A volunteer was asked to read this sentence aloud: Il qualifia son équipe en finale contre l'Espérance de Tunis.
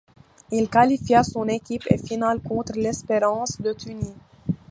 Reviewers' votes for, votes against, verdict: 1, 2, rejected